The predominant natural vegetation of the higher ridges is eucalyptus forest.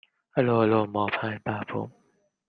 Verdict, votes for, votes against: rejected, 0, 2